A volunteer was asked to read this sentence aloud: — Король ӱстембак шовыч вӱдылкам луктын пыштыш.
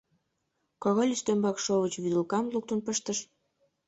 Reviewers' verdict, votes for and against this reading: rejected, 1, 2